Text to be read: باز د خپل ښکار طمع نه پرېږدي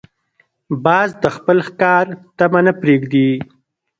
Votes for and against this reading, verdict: 0, 2, rejected